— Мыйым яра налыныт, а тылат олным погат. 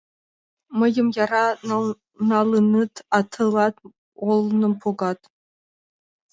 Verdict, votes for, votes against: rejected, 0, 2